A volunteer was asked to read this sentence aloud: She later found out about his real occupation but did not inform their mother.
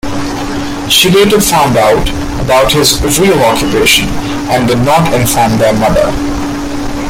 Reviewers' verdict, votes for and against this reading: rejected, 1, 2